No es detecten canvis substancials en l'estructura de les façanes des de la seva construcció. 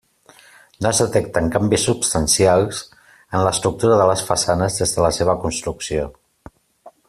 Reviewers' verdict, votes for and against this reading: accepted, 2, 0